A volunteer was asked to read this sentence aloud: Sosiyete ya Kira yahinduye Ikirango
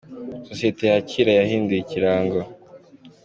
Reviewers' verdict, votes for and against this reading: accepted, 2, 0